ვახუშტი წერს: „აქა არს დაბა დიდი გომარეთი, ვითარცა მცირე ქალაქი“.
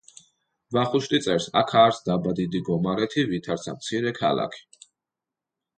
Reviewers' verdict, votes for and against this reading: accepted, 2, 0